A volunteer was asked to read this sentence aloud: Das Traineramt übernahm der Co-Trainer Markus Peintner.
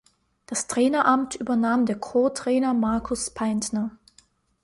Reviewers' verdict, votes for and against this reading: accepted, 2, 0